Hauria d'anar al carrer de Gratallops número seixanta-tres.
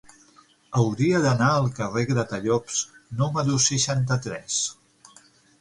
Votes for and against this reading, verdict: 0, 6, rejected